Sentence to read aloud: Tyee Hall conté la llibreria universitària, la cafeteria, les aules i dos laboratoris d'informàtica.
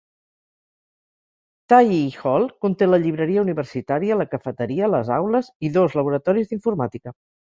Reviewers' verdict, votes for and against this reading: accepted, 4, 0